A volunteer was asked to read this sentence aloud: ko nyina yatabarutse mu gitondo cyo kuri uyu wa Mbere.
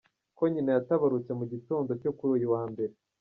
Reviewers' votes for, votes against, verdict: 1, 2, rejected